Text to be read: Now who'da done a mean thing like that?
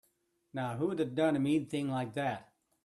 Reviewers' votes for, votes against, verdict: 2, 0, accepted